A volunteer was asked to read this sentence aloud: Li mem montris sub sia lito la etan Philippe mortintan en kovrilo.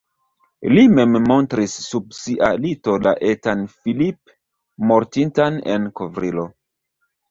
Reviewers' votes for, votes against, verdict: 1, 2, rejected